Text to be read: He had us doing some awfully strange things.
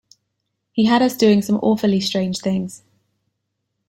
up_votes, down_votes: 2, 0